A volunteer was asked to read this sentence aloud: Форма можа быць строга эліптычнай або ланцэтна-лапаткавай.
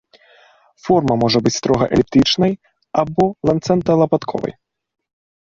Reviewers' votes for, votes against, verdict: 0, 2, rejected